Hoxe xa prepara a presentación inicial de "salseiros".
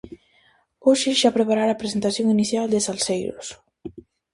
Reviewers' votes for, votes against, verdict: 0, 2, rejected